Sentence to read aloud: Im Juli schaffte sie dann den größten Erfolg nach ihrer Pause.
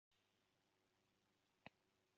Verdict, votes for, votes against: rejected, 0, 2